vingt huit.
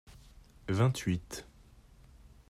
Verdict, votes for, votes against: accepted, 2, 0